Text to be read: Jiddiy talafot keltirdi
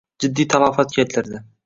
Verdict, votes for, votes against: rejected, 1, 2